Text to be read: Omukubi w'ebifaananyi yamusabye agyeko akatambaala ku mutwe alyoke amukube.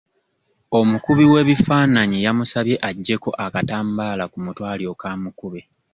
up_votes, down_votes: 2, 0